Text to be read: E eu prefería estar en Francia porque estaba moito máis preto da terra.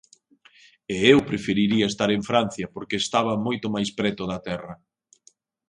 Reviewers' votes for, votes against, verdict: 1, 2, rejected